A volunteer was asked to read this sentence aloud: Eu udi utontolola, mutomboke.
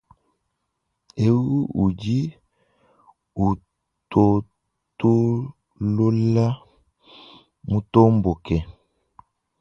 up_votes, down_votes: 0, 2